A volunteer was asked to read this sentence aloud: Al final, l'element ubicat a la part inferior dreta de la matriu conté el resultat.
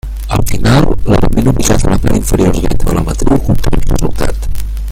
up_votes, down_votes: 0, 2